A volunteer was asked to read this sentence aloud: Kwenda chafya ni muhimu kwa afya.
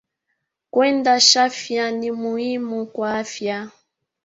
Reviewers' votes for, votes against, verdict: 3, 2, accepted